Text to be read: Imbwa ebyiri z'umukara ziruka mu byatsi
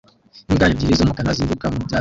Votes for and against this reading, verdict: 0, 2, rejected